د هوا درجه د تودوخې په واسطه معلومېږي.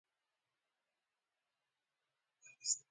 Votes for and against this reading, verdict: 1, 2, rejected